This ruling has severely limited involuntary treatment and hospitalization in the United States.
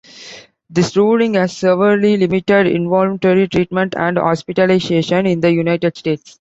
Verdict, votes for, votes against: accepted, 2, 1